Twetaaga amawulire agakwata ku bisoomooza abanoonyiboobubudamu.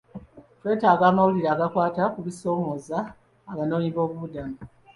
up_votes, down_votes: 2, 0